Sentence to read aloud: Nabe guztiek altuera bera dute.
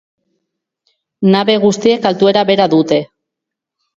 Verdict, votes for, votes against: accepted, 2, 0